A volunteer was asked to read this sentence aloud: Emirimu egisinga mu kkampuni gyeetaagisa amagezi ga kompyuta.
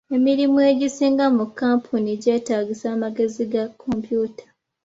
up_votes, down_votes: 2, 0